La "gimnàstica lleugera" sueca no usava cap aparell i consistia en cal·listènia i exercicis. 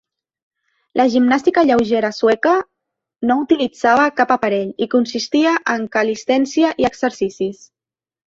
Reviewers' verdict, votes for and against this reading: rejected, 0, 2